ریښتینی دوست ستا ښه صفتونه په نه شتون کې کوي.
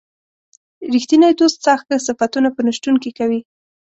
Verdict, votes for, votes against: accepted, 2, 0